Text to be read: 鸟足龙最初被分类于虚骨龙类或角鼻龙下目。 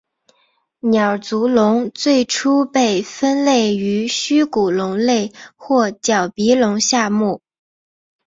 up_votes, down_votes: 3, 1